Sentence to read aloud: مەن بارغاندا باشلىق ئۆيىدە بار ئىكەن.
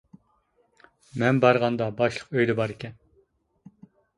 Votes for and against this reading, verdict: 2, 1, accepted